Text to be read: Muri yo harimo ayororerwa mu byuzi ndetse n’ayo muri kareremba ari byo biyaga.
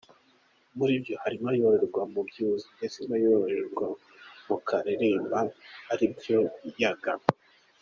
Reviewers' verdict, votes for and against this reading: rejected, 1, 2